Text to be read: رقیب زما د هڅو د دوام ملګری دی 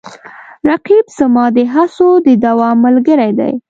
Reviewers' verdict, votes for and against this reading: accepted, 2, 0